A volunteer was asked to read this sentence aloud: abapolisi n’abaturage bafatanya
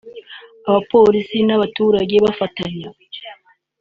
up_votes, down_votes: 2, 1